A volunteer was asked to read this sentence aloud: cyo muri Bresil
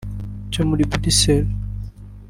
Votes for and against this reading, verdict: 2, 1, accepted